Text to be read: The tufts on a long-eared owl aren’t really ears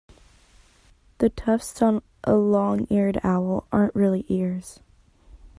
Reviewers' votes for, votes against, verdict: 2, 1, accepted